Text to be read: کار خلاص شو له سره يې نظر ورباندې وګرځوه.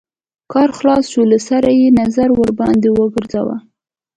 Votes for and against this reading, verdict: 2, 1, accepted